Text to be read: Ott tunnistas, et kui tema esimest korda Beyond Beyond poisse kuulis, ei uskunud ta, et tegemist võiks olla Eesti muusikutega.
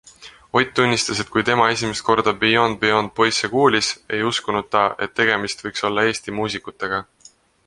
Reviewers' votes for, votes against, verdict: 2, 0, accepted